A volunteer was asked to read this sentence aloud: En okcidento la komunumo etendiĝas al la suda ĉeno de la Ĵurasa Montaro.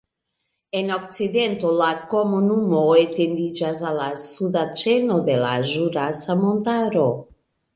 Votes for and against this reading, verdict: 2, 1, accepted